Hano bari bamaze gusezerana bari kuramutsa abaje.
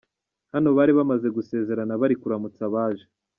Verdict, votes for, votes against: accepted, 2, 0